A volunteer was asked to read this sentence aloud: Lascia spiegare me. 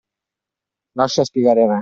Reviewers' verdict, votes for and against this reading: accepted, 2, 0